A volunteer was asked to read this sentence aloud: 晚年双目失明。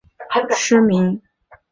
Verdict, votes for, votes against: rejected, 0, 2